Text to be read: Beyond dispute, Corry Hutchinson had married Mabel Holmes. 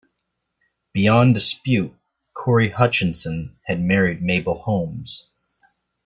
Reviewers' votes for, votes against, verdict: 2, 0, accepted